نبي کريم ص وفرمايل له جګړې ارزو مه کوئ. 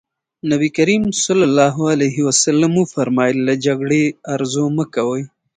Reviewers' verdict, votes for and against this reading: accepted, 2, 0